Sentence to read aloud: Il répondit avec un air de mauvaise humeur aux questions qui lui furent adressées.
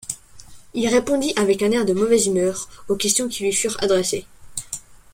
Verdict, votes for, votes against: accepted, 2, 1